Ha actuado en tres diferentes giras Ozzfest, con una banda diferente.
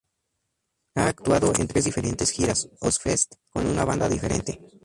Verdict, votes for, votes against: rejected, 0, 2